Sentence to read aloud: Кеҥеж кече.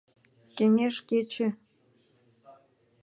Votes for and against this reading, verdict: 2, 0, accepted